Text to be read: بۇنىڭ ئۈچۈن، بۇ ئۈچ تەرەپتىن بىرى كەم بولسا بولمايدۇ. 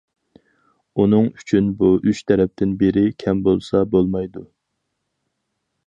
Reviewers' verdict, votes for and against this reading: accepted, 4, 0